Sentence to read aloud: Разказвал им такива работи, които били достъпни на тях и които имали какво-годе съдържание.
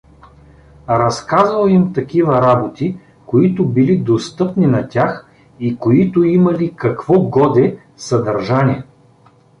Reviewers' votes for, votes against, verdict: 2, 0, accepted